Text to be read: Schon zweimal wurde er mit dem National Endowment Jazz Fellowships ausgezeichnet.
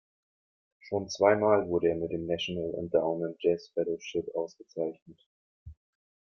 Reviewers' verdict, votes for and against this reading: accepted, 2, 1